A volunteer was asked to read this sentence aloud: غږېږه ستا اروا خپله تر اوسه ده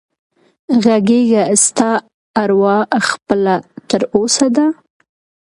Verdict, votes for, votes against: accepted, 2, 0